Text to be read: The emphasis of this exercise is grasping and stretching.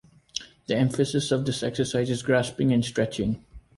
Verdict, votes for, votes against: accepted, 3, 0